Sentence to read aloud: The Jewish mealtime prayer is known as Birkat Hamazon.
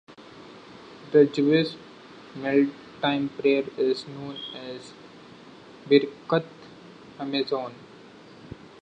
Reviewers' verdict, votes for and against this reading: accepted, 2, 0